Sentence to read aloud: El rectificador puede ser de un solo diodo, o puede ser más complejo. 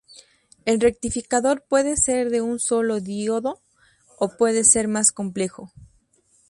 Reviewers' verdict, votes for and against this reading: rejected, 2, 2